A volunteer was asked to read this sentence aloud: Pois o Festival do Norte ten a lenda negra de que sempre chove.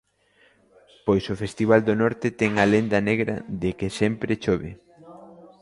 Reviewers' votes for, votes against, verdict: 2, 0, accepted